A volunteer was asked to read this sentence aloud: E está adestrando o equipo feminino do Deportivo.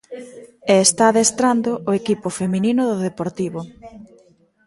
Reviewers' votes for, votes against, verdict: 1, 2, rejected